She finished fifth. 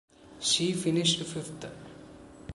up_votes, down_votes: 2, 1